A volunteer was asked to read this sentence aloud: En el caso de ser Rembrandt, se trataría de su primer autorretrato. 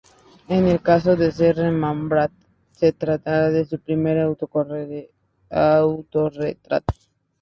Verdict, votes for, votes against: rejected, 0, 2